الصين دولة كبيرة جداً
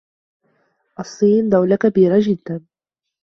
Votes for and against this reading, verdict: 2, 0, accepted